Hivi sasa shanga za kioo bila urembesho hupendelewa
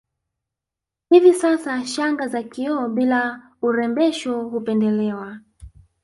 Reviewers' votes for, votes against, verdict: 1, 2, rejected